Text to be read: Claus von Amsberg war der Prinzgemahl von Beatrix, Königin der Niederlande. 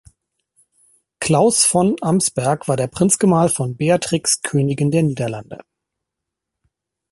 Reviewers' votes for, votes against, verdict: 2, 0, accepted